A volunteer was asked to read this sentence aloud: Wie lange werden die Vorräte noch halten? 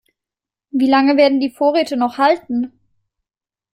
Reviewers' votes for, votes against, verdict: 2, 0, accepted